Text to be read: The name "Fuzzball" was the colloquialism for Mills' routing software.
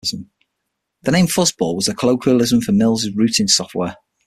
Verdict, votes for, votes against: accepted, 6, 0